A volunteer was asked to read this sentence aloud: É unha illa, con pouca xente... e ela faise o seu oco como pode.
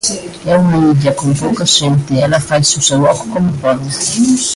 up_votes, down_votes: 0, 2